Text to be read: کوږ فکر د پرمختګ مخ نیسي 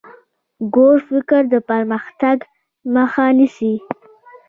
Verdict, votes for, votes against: accepted, 2, 1